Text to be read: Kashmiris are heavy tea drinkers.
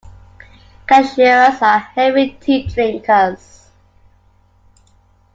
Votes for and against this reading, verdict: 0, 2, rejected